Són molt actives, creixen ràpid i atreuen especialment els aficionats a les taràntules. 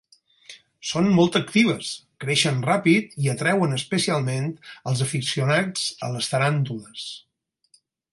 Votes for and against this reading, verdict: 4, 0, accepted